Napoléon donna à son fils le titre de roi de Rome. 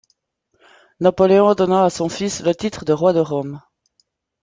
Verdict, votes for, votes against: accepted, 2, 0